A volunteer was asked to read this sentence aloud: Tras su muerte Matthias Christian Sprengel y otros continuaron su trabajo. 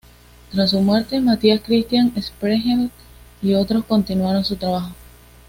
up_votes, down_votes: 2, 0